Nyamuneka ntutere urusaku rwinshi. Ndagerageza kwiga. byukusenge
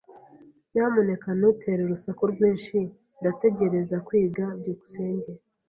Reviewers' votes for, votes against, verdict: 0, 2, rejected